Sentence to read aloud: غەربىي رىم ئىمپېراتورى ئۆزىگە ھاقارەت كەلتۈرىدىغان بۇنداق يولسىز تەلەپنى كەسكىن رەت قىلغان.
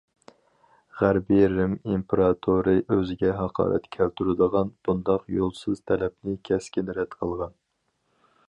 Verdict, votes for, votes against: accepted, 4, 0